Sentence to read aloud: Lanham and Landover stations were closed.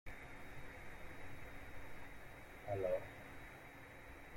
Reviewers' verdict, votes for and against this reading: rejected, 1, 2